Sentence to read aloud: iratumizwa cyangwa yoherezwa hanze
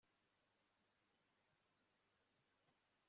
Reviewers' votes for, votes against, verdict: 1, 2, rejected